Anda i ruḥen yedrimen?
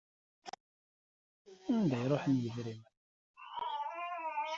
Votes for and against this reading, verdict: 1, 2, rejected